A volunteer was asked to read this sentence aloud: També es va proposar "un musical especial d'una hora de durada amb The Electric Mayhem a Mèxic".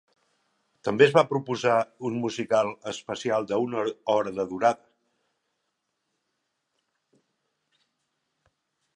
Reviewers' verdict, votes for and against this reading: rejected, 0, 3